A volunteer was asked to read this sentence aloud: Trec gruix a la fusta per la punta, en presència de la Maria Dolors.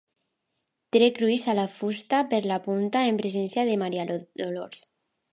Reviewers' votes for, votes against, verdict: 0, 2, rejected